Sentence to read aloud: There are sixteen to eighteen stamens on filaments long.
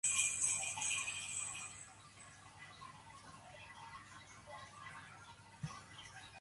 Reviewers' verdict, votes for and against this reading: rejected, 0, 4